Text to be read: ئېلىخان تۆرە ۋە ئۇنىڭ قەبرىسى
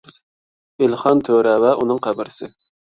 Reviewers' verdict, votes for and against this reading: accepted, 2, 0